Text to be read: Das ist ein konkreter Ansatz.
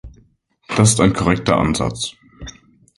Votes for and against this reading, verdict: 0, 2, rejected